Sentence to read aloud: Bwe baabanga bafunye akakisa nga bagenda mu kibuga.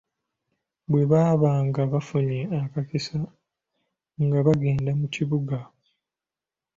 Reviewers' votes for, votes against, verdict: 2, 1, accepted